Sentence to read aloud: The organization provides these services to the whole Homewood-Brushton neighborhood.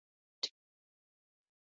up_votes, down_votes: 0, 2